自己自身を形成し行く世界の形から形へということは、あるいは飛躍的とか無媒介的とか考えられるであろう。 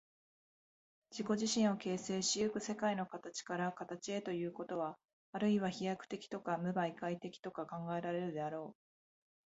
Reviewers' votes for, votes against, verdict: 2, 0, accepted